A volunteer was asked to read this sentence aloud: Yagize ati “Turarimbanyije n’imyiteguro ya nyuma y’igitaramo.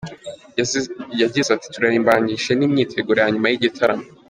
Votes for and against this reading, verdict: 1, 2, rejected